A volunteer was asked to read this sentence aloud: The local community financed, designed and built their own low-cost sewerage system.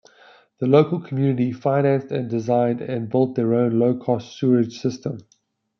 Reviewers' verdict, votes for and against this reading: rejected, 1, 2